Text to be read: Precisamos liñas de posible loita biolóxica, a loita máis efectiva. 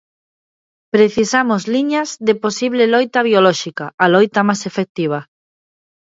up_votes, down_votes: 1, 2